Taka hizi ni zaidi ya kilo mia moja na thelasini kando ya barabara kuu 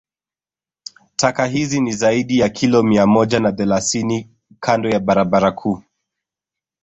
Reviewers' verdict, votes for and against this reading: rejected, 1, 2